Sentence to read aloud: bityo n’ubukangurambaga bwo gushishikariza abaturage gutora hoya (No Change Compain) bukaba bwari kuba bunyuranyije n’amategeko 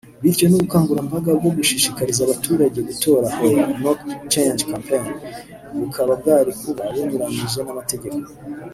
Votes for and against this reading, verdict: 1, 2, rejected